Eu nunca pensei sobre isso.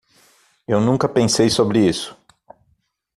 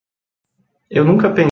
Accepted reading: first